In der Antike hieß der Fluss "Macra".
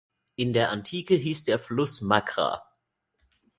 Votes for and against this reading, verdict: 2, 0, accepted